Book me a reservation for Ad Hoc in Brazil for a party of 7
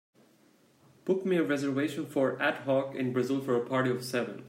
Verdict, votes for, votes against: rejected, 0, 2